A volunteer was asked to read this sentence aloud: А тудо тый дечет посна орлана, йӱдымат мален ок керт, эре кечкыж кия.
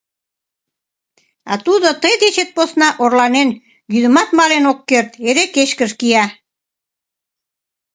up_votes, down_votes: 1, 2